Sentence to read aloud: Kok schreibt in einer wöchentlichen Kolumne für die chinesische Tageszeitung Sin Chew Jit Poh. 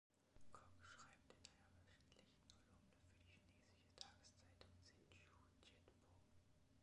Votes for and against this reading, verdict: 0, 2, rejected